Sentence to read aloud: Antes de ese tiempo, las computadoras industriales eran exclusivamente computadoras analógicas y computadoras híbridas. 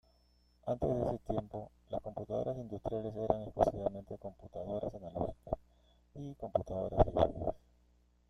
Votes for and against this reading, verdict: 0, 2, rejected